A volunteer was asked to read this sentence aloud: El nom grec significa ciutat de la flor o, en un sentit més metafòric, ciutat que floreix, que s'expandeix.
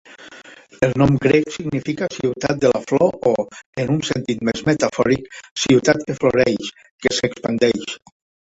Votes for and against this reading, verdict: 1, 4, rejected